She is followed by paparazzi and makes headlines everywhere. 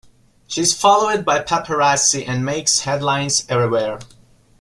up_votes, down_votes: 2, 0